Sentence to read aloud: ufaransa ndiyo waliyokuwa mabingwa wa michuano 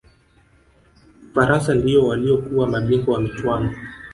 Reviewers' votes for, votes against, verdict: 2, 0, accepted